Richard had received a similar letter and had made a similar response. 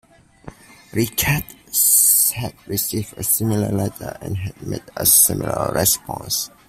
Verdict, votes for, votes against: rejected, 0, 2